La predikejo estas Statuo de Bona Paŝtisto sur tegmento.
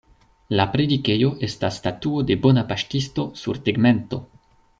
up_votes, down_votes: 2, 0